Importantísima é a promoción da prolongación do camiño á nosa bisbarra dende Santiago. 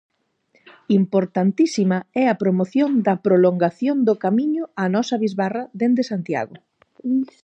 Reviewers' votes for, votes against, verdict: 0, 4, rejected